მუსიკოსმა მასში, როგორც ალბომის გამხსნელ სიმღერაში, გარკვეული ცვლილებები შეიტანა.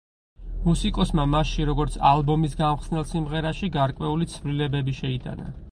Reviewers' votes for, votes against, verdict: 4, 0, accepted